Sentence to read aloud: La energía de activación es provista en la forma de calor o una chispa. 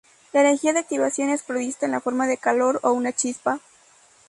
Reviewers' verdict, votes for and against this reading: rejected, 0, 2